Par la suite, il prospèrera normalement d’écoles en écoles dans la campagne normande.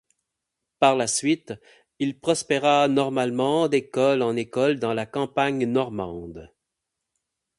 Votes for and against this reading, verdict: 4, 4, rejected